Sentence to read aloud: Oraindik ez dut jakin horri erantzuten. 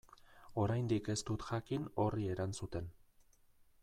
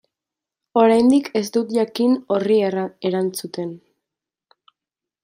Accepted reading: first